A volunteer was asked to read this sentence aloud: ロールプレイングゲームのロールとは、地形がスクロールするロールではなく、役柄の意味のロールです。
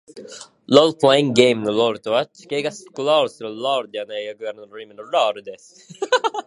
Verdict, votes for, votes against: rejected, 0, 2